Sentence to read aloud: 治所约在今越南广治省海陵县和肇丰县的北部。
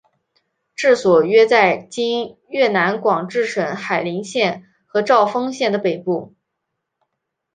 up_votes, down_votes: 3, 0